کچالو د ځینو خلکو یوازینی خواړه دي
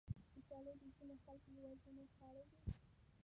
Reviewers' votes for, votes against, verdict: 0, 2, rejected